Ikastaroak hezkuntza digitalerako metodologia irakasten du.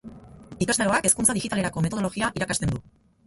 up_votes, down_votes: 0, 2